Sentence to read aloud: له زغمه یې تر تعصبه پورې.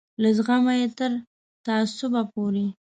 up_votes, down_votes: 2, 1